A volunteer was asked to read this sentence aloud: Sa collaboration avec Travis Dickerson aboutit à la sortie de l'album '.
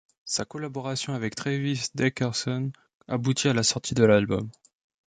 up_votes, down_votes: 1, 2